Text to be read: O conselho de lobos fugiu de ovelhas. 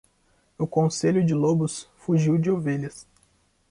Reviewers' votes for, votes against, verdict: 2, 0, accepted